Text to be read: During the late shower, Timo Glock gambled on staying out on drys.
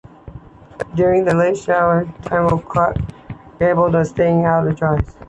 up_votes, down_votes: 1, 2